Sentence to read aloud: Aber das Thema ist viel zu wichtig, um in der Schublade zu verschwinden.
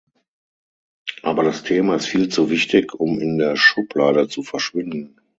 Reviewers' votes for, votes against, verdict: 3, 6, rejected